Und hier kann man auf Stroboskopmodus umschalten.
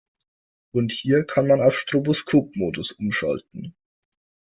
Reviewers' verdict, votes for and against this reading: accepted, 2, 0